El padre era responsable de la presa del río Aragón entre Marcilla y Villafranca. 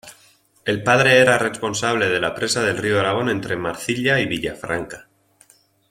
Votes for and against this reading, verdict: 2, 0, accepted